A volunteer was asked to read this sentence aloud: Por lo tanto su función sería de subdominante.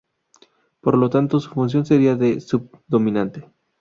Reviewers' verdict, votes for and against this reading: accepted, 2, 0